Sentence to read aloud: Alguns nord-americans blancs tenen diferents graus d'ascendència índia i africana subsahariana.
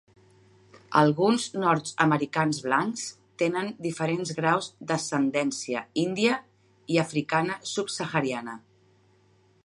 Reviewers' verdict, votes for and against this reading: rejected, 0, 2